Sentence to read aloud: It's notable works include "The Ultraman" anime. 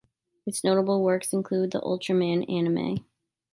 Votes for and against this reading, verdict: 2, 0, accepted